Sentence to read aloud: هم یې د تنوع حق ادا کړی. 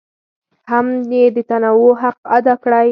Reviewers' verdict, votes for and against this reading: accepted, 4, 0